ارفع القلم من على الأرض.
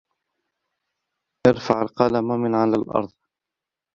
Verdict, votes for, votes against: rejected, 0, 2